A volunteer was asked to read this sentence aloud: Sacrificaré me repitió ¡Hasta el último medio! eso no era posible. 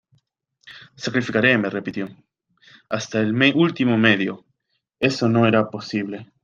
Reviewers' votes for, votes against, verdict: 1, 2, rejected